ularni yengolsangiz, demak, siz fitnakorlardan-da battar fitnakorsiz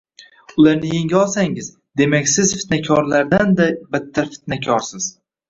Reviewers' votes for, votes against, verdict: 0, 2, rejected